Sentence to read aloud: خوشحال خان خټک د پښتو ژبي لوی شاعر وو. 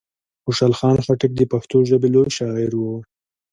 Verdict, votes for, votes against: accepted, 2, 0